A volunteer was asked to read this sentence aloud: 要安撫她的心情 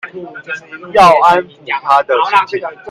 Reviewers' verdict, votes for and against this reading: rejected, 1, 2